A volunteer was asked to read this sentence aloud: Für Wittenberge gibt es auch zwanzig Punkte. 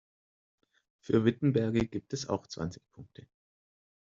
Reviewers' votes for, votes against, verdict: 2, 0, accepted